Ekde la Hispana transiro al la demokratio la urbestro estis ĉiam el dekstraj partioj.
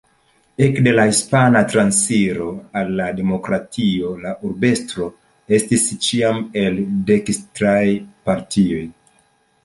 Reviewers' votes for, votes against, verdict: 2, 0, accepted